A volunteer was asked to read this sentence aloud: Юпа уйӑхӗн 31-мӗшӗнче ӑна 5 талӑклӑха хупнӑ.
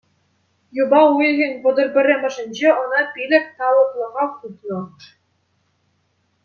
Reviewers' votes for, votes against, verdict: 0, 2, rejected